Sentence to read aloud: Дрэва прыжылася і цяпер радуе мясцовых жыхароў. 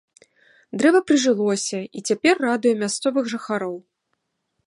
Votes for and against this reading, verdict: 1, 2, rejected